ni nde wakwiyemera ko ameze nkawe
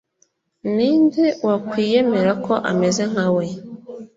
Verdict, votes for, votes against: accepted, 3, 0